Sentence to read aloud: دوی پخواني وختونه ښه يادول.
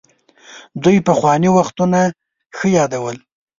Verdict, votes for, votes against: accepted, 2, 0